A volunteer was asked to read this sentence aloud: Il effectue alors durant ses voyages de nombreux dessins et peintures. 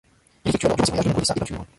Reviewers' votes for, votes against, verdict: 0, 2, rejected